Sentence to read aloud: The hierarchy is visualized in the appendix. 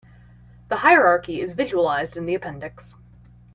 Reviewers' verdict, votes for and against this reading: accepted, 3, 0